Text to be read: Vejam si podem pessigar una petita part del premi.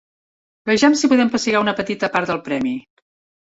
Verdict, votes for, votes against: accepted, 2, 0